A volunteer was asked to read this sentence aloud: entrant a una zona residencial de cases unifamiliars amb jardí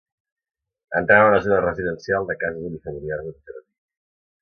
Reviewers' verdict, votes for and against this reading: rejected, 0, 2